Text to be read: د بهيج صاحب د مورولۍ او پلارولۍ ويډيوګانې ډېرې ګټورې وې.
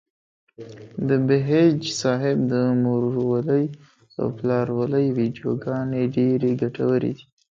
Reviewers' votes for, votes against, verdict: 1, 2, rejected